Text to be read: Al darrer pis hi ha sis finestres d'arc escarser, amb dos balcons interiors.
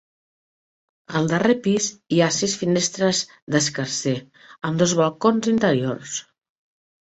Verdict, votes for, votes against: rejected, 1, 2